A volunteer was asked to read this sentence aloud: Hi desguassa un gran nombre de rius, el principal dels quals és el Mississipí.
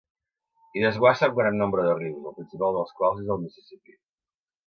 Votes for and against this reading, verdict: 2, 0, accepted